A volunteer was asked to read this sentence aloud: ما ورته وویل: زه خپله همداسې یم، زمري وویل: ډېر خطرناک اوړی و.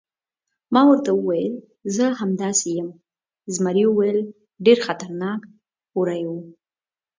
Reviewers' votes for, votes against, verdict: 0, 2, rejected